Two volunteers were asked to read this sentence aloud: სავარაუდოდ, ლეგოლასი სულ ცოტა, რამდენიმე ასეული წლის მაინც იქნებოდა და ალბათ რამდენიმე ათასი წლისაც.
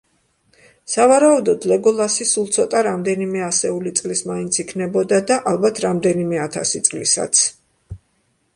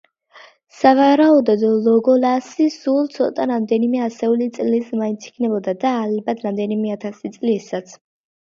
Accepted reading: first